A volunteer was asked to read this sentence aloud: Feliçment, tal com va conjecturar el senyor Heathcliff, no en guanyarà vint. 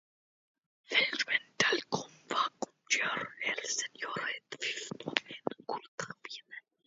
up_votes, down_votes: 0, 2